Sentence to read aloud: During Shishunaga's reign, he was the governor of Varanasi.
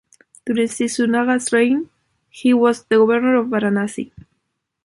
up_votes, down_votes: 0, 3